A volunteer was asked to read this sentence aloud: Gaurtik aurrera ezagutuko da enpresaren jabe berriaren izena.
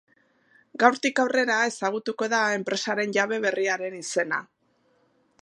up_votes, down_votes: 2, 0